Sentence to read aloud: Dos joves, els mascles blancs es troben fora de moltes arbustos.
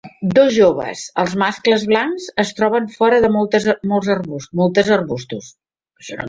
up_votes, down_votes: 1, 3